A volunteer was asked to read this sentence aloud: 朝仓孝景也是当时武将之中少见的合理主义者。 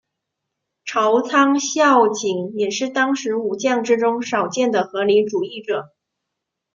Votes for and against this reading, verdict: 2, 0, accepted